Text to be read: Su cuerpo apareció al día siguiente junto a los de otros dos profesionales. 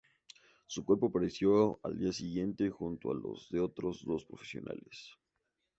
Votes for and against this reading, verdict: 2, 0, accepted